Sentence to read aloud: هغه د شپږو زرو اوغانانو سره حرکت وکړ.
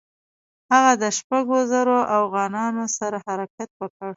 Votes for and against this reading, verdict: 2, 0, accepted